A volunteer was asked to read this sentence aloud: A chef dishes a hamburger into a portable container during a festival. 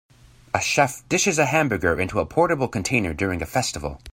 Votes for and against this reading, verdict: 2, 0, accepted